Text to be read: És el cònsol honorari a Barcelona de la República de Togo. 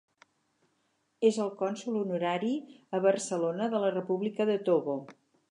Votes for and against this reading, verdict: 6, 0, accepted